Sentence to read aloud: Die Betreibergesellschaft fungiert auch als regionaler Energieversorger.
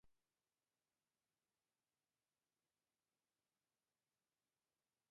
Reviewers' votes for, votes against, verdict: 1, 2, rejected